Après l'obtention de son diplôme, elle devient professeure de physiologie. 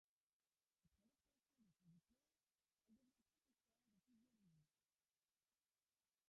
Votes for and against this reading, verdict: 0, 3, rejected